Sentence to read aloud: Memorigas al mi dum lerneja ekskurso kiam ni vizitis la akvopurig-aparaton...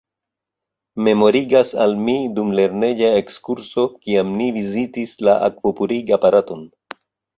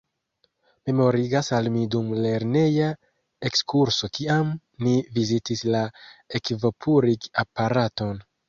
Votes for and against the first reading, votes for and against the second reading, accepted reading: 2, 0, 1, 2, first